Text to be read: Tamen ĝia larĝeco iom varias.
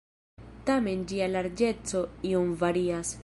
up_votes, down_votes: 1, 2